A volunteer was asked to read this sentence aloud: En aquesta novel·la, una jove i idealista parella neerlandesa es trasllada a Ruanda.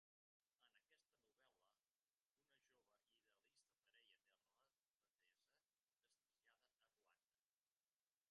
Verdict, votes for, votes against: rejected, 0, 3